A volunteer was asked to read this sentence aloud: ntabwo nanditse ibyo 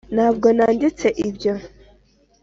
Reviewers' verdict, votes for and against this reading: accepted, 3, 0